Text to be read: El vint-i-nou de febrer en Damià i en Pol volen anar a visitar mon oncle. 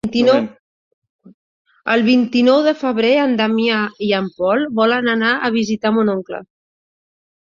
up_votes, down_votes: 0, 2